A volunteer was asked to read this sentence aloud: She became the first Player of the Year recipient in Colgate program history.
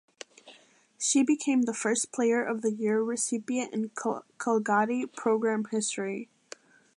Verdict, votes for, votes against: rejected, 1, 2